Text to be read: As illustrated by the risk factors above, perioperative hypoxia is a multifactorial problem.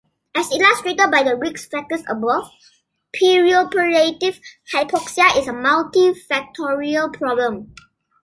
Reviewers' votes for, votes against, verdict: 1, 2, rejected